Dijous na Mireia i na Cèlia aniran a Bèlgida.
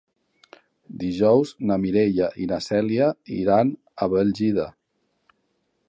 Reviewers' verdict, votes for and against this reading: rejected, 1, 2